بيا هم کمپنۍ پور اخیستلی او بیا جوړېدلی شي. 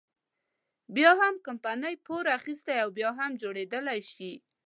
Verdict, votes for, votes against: accepted, 2, 0